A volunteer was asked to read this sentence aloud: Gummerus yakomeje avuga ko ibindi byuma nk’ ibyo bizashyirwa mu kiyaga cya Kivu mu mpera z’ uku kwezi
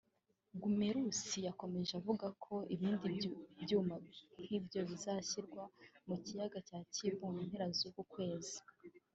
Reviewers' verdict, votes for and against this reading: rejected, 0, 2